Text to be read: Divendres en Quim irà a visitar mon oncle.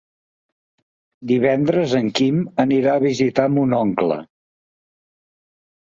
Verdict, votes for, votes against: rejected, 2, 3